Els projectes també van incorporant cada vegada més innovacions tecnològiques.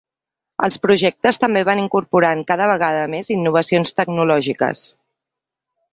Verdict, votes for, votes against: accepted, 2, 0